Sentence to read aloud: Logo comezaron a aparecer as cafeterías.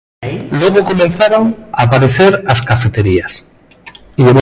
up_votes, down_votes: 0, 2